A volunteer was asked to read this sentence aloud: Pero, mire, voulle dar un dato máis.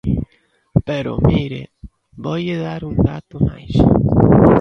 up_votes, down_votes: 1, 2